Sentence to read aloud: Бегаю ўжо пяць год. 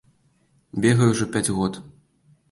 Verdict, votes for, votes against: accepted, 3, 0